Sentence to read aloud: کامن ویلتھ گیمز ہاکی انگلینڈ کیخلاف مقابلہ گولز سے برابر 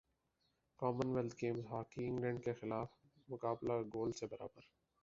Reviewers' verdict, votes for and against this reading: rejected, 0, 2